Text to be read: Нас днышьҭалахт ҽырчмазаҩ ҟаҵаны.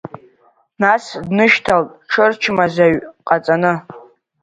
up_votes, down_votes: 0, 2